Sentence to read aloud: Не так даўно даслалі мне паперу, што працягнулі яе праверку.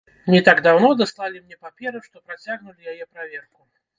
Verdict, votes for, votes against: rejected, 1, 2